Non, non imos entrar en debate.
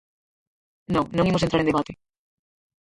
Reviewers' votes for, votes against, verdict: 2, 4, rejected